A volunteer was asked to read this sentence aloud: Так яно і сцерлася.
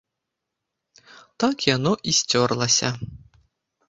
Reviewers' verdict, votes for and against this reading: rejected, 0, 2